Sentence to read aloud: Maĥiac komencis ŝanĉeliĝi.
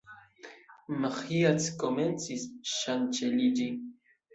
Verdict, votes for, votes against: rejected, 0, 2